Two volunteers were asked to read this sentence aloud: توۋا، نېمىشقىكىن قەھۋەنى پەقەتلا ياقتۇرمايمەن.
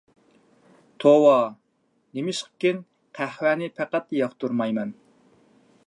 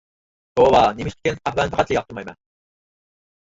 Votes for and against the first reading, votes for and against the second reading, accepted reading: 2, 0, 0, 4, first